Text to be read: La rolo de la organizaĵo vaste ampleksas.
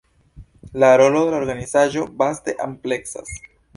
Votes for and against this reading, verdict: 2, 0, accepted